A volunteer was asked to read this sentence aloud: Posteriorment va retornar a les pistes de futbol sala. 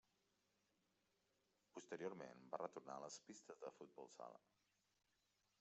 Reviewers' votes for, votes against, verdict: 3, 1, accepted